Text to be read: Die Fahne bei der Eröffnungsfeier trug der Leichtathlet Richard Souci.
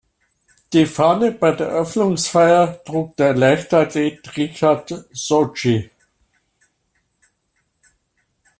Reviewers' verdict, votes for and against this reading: rejected, 1, 2